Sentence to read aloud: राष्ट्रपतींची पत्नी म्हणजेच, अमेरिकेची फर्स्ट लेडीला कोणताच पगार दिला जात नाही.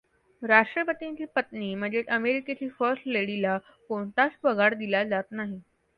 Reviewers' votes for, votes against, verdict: 2, 0, accepted